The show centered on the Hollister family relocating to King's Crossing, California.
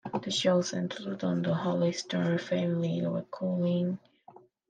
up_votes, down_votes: 1, 2